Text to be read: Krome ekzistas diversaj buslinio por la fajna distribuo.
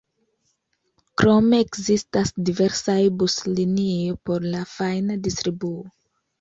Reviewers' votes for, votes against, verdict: 2, 0, accepted